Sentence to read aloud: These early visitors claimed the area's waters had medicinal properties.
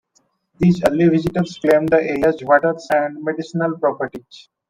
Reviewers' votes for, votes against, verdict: 2, 3, rejected